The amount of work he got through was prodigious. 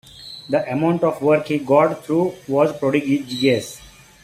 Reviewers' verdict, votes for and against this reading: rejected, 0, 2